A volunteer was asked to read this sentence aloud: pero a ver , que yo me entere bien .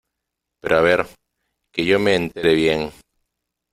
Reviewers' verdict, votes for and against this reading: accepted, 2, 1